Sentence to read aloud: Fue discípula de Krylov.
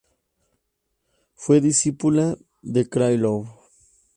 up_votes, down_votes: 0, 2